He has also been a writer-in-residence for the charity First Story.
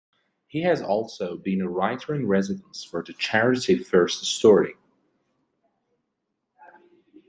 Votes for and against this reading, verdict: 2, 0, accepted